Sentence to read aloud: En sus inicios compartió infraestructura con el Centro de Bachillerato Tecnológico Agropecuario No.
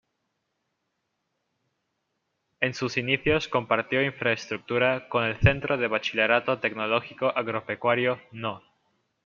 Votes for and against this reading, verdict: 1, 2, rejected